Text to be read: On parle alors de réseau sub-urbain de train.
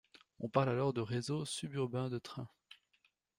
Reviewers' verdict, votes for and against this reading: accepted, 2, 0